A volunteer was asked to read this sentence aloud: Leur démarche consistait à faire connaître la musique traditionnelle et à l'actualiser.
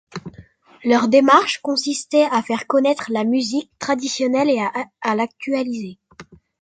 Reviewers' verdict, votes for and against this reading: rejected, 0, 2